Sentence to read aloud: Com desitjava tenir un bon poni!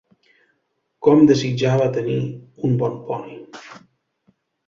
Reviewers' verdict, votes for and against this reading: accepted, 2, 0